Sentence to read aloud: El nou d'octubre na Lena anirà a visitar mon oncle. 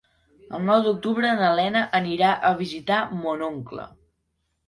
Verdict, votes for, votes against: accepted, 3, 0